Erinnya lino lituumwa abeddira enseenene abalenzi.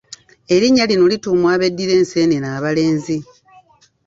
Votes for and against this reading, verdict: 2, 0, accepted